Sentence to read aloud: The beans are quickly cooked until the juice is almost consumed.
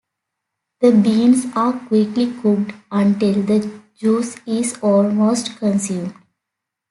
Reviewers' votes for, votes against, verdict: 2, 0, accepted